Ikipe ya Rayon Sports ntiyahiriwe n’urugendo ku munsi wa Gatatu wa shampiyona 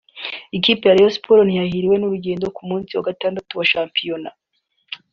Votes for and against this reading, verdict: 3, 0, accepted